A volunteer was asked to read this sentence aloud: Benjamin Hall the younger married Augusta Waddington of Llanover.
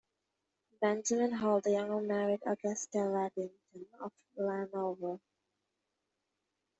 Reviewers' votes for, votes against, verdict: 1, 2, rejected